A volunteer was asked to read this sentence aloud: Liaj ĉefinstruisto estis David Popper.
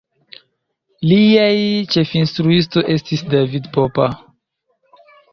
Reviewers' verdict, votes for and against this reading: rejected, 1, 2